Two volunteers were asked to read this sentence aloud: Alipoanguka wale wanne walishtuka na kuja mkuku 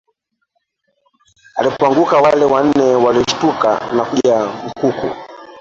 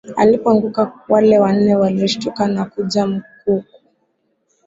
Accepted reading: second